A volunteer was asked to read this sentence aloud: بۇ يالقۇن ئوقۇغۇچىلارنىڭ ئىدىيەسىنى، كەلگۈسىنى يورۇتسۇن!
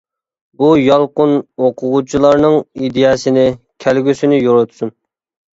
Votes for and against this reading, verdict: 2, 0, accepted